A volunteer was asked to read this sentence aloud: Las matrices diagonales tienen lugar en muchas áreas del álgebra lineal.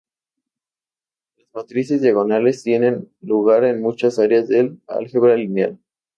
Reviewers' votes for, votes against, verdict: 0, 4, rejected